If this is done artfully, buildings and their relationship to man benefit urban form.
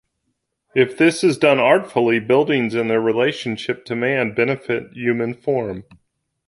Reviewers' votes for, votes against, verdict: 0, 2, rejected